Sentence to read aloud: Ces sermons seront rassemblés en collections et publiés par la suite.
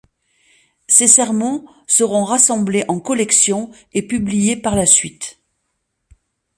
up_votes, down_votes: 2, 0